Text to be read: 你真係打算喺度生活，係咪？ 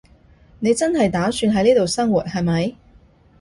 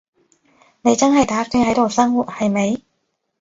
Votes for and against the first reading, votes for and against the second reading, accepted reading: 0, 2, 2, 0, second